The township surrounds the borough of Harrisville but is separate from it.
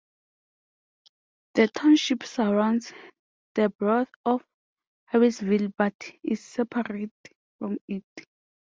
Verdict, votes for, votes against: accepted, 2, 0